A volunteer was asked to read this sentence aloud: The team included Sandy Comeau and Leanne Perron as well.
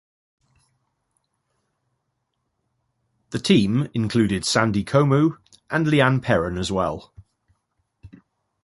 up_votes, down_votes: 2, 0